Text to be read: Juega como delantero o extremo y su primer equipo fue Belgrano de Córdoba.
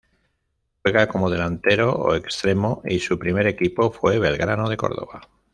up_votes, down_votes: 1, 2